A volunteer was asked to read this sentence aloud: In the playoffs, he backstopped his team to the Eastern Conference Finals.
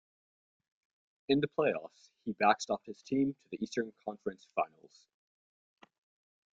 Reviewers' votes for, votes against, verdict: 1, 2, rejected